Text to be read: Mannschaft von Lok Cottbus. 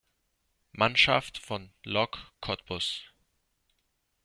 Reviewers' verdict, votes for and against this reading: accepted, 2, 0